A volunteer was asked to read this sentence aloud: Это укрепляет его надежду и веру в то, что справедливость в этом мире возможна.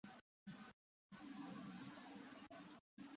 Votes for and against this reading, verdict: 0, 2, rejected